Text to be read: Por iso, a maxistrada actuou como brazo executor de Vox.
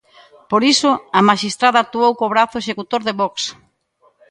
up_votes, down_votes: 0, 2